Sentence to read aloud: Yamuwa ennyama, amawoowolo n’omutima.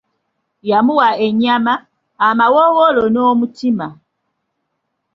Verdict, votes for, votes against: accepted, 2, 0